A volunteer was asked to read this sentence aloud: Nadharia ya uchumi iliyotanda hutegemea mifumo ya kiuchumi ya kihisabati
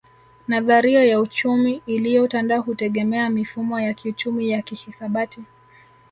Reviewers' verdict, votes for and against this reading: accepted, 3, 0